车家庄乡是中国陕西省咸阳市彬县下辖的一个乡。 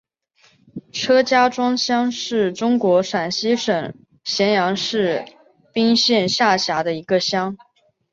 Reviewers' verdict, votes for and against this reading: accepted, 2, 1